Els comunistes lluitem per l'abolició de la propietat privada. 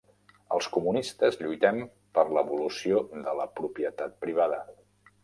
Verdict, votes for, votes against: rejected, 1, 2